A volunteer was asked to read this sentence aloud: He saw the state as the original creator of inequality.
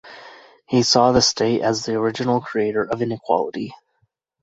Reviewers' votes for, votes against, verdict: 2, 0, accepted